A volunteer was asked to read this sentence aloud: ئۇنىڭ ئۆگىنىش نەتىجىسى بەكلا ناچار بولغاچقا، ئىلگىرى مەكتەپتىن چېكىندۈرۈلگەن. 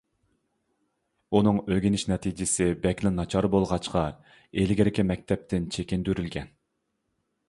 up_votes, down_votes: 1, 2